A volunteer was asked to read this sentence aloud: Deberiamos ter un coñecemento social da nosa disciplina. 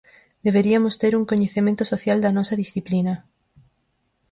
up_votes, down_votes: 2, 4